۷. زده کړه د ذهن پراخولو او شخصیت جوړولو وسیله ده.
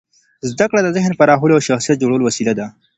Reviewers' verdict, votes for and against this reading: rejected, 0, 2